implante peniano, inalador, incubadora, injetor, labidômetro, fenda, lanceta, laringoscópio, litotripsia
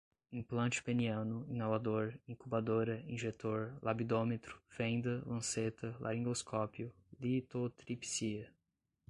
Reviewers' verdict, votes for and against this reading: accepted, 2, 0